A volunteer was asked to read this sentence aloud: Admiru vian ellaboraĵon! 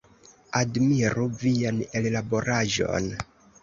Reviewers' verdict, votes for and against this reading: accepted, 2, 0